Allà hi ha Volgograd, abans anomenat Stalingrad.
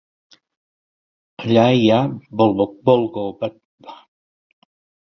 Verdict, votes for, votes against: rejected, 0, 2